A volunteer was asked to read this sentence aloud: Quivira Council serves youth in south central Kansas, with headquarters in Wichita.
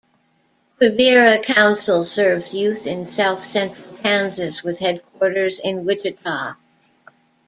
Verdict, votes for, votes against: rejected, 1, 2